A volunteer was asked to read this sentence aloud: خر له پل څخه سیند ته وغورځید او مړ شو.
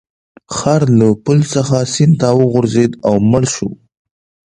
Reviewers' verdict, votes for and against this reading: accepted, 2, 1